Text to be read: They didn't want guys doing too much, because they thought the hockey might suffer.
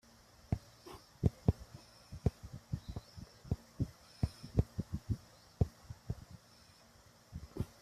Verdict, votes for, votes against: rejected, 0, 2